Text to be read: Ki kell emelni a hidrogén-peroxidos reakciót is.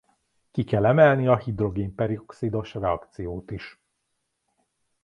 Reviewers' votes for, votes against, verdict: 1, 2, rejected